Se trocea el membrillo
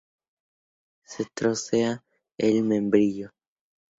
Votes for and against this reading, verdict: 0, 2, rejected